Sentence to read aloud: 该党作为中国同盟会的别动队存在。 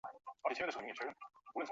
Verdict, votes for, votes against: rejected, 1, 5